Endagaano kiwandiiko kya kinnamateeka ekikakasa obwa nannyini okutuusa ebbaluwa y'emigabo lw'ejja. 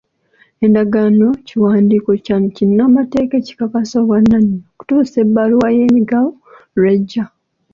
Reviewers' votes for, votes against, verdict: 0, 2, rejected